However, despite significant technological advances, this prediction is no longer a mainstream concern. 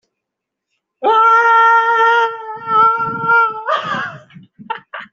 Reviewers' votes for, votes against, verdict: 0, 2, rejected